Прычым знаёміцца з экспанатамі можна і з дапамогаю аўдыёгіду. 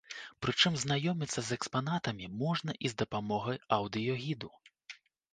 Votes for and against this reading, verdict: 2, 0, accepted